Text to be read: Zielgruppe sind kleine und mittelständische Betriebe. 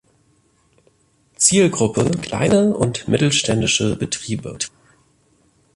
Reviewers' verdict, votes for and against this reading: rejected, 0, 2